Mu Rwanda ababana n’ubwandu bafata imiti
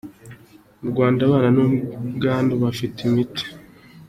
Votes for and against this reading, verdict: 2, 0, accepted